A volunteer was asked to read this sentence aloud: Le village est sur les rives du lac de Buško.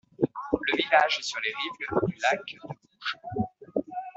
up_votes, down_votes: 2, 0